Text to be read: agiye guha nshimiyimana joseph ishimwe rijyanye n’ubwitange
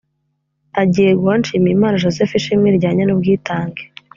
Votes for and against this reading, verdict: 2, 0, accepted